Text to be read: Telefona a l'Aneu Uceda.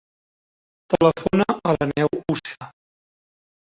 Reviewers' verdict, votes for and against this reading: rejected, 1, 2